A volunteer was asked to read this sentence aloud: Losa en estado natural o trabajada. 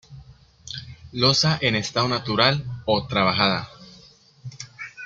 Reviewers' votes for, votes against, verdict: 2, 0, accepted